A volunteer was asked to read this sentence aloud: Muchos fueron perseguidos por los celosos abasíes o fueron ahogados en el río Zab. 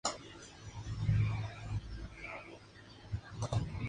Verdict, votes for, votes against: rejected, 0, 2